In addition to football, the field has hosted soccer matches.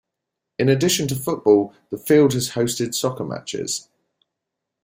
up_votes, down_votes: 2, 0